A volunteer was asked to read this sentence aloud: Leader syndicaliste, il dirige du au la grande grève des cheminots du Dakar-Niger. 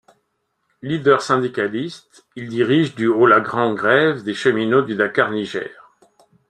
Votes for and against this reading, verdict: 2, 0, accepted